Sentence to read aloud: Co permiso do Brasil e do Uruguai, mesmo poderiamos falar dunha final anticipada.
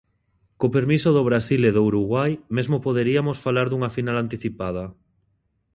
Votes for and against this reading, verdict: 0, 2, rejected